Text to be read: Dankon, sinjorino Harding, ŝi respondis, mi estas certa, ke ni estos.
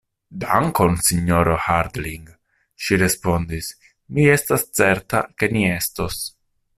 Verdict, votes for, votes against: rejected, 0, 2